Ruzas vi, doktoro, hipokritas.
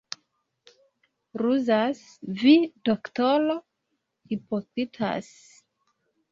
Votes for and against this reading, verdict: 1, 2, rejected